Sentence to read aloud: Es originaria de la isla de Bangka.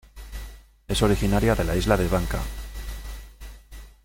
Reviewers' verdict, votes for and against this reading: accepted, 2, 0